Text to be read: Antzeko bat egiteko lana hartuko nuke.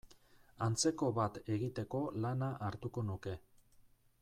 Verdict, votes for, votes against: rejected, 0, 2